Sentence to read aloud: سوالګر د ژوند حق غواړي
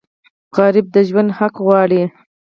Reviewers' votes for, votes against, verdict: 0, 4, rejected